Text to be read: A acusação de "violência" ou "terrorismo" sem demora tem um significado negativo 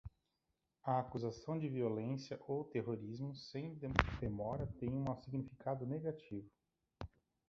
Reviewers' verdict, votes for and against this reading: rejected, 0, 2